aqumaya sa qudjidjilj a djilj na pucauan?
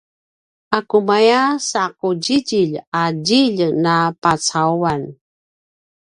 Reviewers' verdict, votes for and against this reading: rejected, 0, 2